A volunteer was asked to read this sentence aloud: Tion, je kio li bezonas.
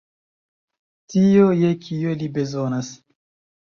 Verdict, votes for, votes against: accepted, 2, 1